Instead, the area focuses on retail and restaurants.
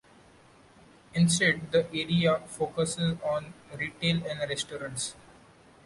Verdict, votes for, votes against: accepted, 2, 1